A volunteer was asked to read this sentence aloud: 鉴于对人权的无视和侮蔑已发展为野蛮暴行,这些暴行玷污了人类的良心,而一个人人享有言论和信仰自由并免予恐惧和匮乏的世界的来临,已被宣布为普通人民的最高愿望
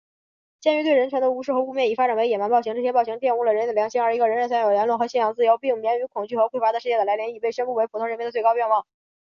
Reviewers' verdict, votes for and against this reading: accepted, 2, 0